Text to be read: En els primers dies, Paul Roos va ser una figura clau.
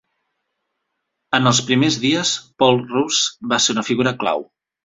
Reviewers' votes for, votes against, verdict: 3, 0, accepted